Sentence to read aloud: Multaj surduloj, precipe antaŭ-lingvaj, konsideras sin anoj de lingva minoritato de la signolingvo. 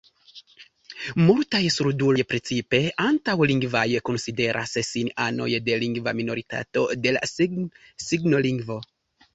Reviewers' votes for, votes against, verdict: 1, 2, rejected